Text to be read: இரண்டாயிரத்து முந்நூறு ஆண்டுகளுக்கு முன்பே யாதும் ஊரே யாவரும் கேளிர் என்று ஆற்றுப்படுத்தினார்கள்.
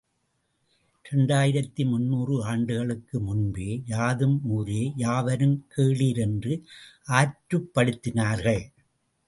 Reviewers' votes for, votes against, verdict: 2, 0, accepted